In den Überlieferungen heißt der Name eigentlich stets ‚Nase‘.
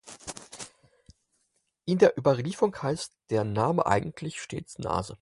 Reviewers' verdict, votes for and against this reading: rejected, 0, 4